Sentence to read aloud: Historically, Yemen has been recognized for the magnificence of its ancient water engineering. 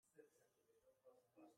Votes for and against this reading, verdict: 0, 2, rejected